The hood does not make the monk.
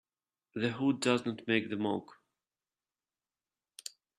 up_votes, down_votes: 0, 2